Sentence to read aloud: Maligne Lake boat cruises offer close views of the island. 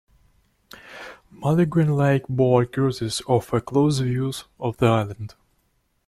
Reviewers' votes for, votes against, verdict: 2, 1, accepted